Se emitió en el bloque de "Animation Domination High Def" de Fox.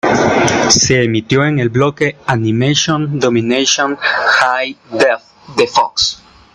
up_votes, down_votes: 2, 0